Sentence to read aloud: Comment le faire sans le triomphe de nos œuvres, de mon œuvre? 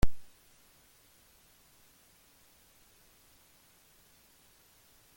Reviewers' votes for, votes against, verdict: 0, 2, rejected